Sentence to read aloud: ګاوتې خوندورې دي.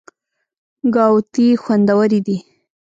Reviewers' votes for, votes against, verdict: 1, 2, rejected